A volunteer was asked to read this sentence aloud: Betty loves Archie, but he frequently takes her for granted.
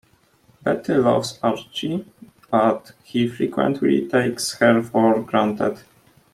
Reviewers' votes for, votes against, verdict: 2, 0, accepted